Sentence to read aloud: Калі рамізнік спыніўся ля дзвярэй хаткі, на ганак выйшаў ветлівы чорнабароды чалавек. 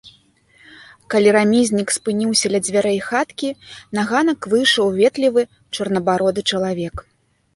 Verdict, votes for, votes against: accepted, 2, 0